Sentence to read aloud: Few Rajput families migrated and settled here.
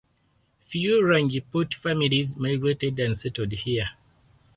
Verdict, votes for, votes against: accepted, 4, 0